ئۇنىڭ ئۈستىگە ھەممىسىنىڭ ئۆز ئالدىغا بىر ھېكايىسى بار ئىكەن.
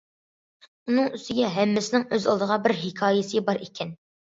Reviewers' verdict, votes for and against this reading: accepted, 2, 0